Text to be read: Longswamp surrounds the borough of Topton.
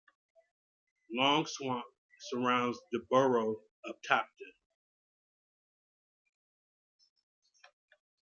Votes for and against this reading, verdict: 2, 0, accepted